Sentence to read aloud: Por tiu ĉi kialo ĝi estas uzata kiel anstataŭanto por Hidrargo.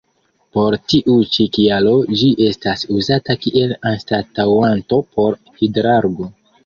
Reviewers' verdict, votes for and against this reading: accepted, 2, 1